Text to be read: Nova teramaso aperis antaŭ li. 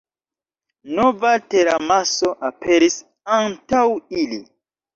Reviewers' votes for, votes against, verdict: 0, 2, rejected